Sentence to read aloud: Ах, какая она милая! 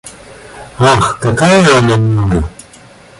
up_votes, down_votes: 1, 2